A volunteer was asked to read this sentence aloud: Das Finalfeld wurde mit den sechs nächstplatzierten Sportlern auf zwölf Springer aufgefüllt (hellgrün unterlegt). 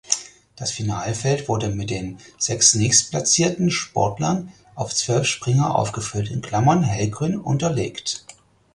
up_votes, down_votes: 2, 4